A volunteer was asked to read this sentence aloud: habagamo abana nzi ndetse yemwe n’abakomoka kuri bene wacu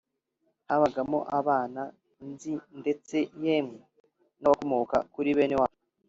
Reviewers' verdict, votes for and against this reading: rejected, 1, 2